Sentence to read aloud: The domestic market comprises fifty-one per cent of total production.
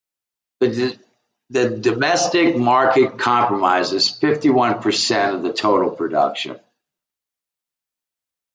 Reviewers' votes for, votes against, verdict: 0, 2, rejected